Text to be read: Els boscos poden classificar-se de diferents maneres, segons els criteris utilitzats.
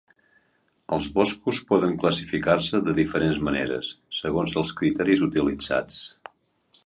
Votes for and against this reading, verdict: 3, 0, accepted